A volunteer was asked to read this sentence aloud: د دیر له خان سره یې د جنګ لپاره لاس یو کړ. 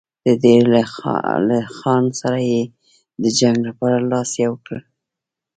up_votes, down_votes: 1, 2